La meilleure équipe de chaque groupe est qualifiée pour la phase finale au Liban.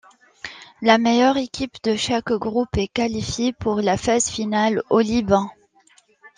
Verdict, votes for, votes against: accepted, 2, 0